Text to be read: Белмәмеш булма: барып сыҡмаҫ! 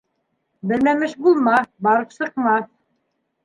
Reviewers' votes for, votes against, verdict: 2, 0, accepted